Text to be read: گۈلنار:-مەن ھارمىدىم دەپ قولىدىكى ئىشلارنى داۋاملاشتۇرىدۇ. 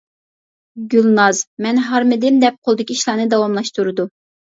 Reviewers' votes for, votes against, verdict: 0, 2, rejected